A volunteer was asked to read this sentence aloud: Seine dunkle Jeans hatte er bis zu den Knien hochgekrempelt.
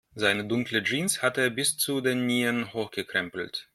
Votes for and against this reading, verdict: 0, 2, rejected